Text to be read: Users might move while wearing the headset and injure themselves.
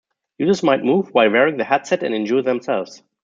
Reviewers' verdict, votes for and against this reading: rejected, 0, 2